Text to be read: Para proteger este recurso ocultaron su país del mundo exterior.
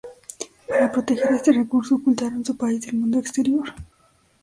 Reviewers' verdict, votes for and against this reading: rejected, 1, 2